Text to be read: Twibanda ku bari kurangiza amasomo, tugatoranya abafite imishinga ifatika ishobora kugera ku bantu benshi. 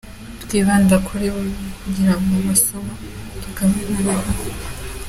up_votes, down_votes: 0, 2